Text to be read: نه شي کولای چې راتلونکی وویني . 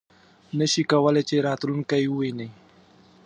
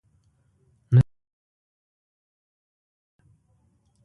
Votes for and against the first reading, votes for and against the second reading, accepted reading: 2, 1, 1, 2, first